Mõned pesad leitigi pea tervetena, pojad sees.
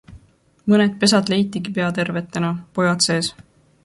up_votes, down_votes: 2, 0